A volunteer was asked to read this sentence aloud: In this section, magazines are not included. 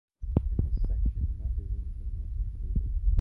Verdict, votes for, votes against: rejected, 0, 2